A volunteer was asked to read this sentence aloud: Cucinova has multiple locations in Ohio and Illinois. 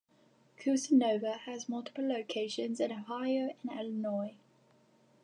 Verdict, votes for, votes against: rejected, 1, 2